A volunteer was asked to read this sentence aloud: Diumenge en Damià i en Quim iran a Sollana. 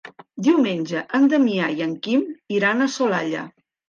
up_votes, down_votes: 0, 2